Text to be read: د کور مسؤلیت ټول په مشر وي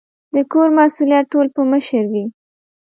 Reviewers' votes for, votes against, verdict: 2, 0, accepted